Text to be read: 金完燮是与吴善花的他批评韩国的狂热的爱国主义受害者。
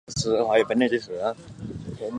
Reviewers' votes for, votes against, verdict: 0, 4, rejected